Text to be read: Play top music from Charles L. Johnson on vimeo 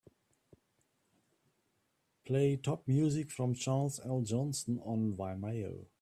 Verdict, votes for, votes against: accepted, 2, 1